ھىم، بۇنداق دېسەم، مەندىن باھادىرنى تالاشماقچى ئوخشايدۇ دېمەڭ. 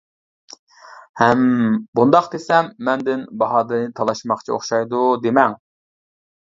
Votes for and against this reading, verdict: 1, 2, rejected